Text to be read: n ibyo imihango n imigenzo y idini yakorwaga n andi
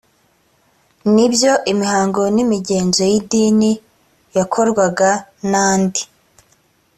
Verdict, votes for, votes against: accepted, 2, 0